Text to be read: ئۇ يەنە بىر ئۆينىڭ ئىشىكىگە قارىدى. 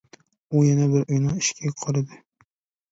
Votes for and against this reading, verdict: 0, 2, rejected